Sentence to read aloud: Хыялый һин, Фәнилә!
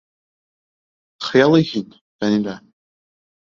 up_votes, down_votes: 3, 0